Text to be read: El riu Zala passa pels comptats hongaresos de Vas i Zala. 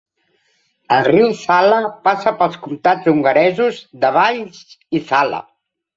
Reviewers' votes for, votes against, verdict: 0, 2, rejected